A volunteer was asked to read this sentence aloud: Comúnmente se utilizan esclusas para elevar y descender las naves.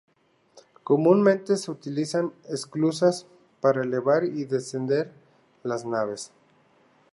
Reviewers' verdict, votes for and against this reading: accepted, 2, 0